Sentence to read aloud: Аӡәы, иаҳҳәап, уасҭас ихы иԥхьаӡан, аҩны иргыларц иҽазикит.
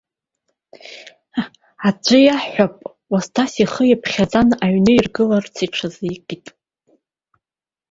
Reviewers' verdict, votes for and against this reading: rejected, 1, 2